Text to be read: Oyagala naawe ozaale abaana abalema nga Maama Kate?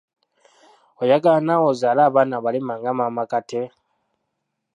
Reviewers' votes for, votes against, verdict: 0, 2, rejected